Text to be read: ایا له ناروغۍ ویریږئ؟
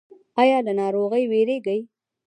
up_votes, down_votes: 0, 2